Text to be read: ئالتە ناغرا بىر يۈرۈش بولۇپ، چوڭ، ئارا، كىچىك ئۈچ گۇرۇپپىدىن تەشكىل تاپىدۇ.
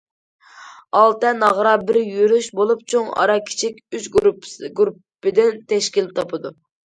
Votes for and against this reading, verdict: 2, 1, accepted